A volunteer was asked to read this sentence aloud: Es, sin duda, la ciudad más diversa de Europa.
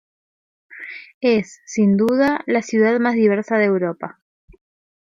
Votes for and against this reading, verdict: 2, 0, accepted